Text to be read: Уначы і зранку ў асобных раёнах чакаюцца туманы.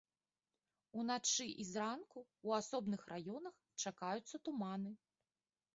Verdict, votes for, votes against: accepted, 2, 0